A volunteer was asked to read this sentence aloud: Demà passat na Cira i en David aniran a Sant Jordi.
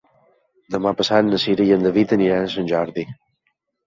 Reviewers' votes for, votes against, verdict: 3, 0, accepted